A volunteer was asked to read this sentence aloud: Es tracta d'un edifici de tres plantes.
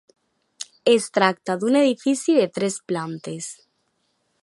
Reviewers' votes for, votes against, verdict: 2, 0, accepted